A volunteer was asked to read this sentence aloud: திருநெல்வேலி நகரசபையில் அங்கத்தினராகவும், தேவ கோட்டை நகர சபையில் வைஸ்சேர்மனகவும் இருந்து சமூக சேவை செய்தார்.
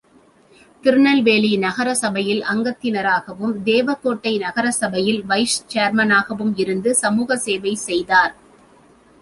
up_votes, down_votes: 3, 0